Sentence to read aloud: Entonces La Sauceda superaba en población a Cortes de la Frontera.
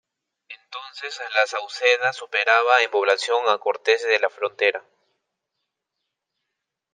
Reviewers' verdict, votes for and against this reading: rejected, 1, 2